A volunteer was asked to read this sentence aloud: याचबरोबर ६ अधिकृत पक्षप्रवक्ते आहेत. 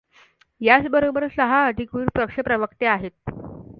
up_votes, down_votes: 0, 2